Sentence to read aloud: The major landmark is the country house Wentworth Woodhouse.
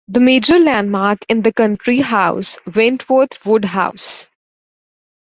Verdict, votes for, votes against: rejected, 0, 2